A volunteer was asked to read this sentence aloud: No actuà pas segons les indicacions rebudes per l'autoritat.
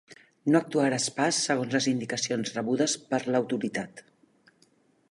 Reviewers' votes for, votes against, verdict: 1, 2, rejected